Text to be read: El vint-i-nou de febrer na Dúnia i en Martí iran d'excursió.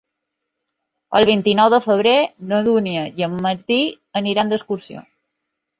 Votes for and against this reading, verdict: 0, 3, rejected